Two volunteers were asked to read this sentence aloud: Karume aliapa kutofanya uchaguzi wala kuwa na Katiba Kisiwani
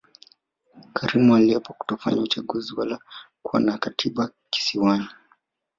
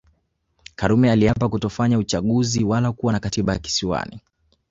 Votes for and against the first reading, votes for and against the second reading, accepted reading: 0, 2, 2, 0, second